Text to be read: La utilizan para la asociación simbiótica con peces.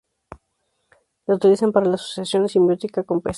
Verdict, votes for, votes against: rejected, 0, 2